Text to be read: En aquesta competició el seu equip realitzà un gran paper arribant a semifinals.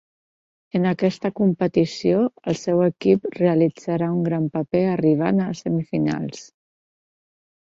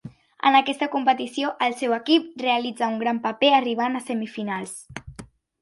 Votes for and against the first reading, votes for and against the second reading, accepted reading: 0, 2, 3, 0, second